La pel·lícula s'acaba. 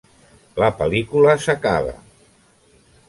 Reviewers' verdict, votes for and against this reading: accepted, 3, 0